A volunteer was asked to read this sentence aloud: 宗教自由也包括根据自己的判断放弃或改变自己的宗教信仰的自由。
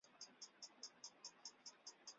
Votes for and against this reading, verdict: 0, 2, rejected